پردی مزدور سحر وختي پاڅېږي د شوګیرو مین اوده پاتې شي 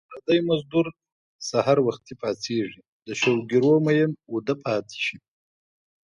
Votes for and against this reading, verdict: 1, 2, rejected